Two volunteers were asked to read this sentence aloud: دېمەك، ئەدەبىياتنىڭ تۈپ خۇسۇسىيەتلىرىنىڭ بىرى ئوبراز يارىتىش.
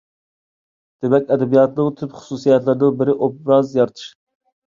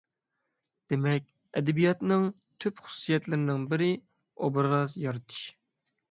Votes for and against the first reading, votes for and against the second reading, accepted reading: 1, 2, 6, 0, second